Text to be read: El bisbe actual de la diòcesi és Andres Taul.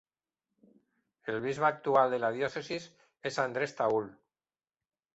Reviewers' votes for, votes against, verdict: 3, 0, accepted